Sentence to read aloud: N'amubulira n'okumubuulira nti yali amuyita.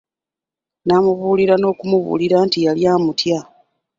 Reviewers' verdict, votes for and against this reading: rejected, 0, 2